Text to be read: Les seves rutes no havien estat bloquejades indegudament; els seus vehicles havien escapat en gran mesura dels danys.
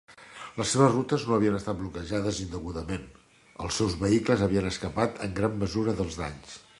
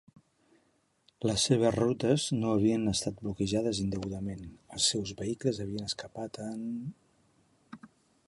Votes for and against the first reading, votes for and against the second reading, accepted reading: 3, 0, 0, 2, first